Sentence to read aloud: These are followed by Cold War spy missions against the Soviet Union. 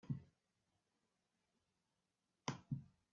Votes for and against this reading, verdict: 0, 2, rejected